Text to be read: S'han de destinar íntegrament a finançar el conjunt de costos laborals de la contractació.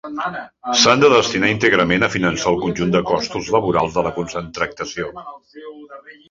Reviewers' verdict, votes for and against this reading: rejected, 0, 2